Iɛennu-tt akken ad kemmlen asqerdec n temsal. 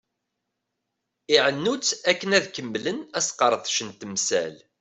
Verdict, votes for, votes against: accepted, 2, 0